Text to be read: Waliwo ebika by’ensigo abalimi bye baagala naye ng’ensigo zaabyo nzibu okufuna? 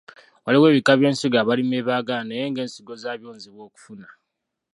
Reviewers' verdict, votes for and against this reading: rejected, 1, 2